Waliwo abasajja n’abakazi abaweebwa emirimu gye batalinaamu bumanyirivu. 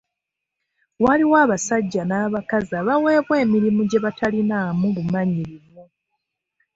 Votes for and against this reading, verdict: 2, 0, accepted